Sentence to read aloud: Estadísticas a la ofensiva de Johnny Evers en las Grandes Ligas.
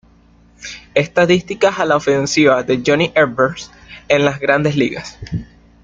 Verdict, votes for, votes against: accepted, 2, 0